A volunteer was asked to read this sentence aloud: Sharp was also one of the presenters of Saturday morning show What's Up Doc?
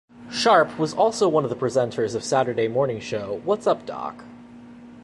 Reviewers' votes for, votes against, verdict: 2, 0, accepted